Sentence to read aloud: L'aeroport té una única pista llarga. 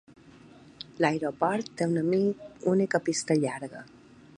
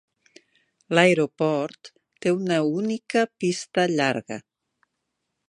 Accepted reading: second